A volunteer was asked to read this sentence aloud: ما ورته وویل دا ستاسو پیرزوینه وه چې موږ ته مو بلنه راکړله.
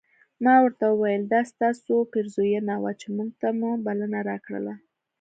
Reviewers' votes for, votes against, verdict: 2, 0, accepted